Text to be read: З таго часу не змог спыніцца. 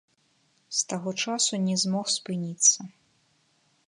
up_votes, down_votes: 1, 2